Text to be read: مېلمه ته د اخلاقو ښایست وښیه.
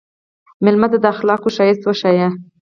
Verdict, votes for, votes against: rejected, 0, 4